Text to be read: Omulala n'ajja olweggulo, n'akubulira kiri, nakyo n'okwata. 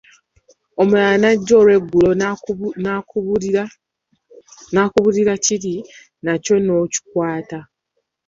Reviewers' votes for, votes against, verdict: 1, 2, rejected